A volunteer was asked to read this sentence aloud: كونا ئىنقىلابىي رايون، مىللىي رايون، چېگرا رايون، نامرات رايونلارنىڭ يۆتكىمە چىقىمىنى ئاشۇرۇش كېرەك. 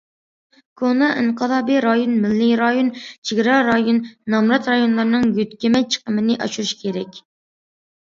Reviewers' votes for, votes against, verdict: 2, 0, accepted